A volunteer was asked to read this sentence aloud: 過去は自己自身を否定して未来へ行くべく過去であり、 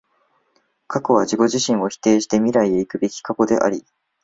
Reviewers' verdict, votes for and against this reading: accepted, 2, 0